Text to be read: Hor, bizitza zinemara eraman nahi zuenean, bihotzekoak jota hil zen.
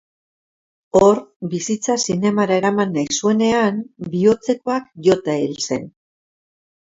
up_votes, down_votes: 2, 0